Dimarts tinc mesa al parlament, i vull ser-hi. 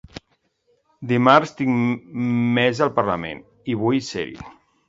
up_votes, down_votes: 0, 2